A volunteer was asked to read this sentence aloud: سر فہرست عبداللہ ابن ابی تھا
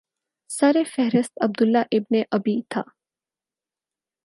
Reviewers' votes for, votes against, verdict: 4, 0, accepted